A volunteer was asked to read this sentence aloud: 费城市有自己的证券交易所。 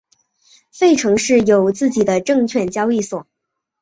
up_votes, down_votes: 4, 0